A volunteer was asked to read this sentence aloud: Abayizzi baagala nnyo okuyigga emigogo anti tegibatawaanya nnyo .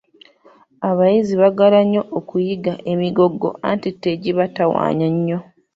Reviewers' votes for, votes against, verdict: 1, 2, rejected